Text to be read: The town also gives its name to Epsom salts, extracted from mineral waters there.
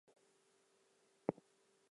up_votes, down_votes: 0, 4